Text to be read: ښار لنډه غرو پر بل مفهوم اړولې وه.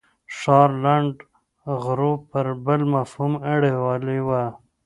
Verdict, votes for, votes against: rejected, 1, 2